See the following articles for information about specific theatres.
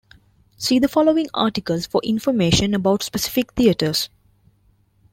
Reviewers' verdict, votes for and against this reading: accepted, 2, 0